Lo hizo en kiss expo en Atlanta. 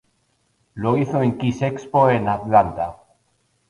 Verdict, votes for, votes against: accepted, 2, 0